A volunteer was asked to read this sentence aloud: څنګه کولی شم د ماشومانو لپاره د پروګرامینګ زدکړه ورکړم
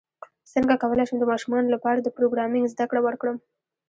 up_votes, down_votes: 1, 2